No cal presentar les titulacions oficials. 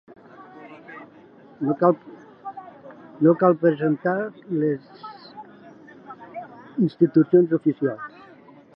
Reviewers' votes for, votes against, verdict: 0, 2, rejected